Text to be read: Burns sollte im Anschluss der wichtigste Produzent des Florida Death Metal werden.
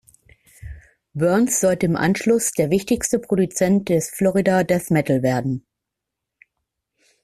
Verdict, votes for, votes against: accepted, 2, 0